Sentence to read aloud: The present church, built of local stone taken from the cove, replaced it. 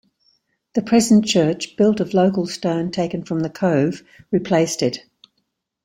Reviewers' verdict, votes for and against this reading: accepted, 2, 0